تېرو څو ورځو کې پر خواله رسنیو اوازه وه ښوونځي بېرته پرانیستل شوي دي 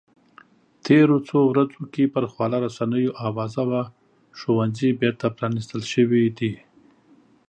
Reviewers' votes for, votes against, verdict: 5, 0, accepted